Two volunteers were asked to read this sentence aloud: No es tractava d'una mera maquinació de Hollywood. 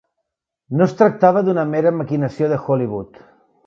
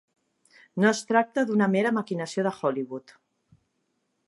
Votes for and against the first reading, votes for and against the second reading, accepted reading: 3, 0, 1, 2, first